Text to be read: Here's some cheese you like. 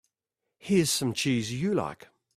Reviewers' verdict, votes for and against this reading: accepted, 2, 1